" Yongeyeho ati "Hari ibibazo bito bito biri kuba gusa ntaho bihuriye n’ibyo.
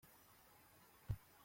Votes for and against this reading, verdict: 0, 2, rejected